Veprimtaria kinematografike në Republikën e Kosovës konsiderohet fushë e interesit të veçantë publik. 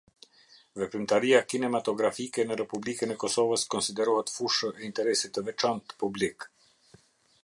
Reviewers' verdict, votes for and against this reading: accepted, 2, 0